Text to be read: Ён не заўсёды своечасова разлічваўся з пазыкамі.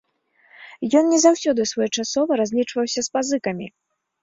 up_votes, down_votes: 2, 0